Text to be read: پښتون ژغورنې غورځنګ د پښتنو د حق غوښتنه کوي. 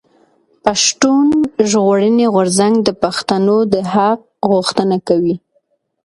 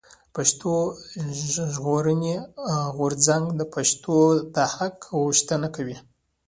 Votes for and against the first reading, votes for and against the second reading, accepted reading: 2, 0, 0, 2, first